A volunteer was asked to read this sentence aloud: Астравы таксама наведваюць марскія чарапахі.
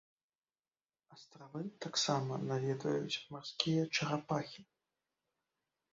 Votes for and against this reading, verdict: 1, 2, rejected